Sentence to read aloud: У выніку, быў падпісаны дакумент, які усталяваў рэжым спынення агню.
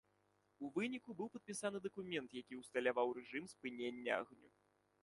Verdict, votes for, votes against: accepted, 2, 0